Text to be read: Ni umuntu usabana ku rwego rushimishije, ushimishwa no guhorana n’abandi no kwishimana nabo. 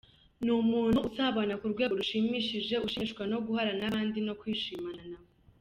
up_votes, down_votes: 1, 2